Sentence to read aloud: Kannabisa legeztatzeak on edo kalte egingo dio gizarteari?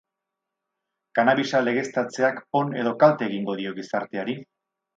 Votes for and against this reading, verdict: 2, 0, accepted